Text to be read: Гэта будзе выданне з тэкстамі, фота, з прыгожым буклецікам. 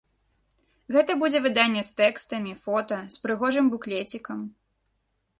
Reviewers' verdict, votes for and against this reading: accepted, 2, 0